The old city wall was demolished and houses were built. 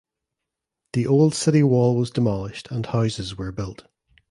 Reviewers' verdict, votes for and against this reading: accepted, 2, 0